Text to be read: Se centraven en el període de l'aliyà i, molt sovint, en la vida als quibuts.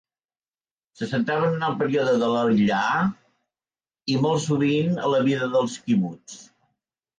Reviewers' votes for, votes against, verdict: 1, 2, rejected